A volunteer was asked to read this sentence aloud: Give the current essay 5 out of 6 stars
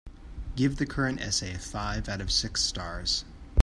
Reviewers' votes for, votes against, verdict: 0, 2, rejected